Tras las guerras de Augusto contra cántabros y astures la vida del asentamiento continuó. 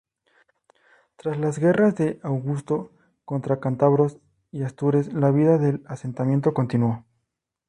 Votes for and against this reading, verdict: 2, 2, rejected